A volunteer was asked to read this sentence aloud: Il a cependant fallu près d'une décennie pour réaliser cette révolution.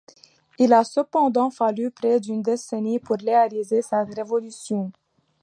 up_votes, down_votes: 2, 1